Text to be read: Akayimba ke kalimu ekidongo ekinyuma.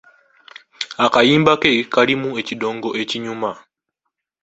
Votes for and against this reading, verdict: 2, 1, accepted